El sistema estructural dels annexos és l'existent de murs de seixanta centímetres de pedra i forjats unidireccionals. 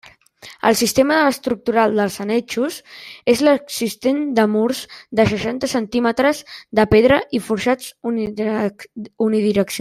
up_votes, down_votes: 0, 2